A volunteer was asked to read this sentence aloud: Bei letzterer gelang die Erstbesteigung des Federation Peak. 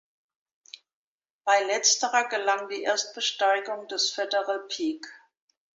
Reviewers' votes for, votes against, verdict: 0, 2, rejected